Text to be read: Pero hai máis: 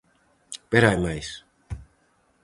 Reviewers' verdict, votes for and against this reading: accepted, 4, 0